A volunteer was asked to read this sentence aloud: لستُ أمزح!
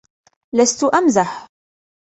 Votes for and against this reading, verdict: 2, 0, accepted